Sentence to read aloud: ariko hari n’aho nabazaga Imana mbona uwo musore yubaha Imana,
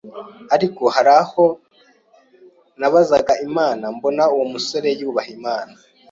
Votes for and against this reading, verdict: 0, 2, rejected